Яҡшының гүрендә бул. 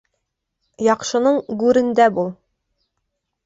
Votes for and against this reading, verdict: 2, 0, accepted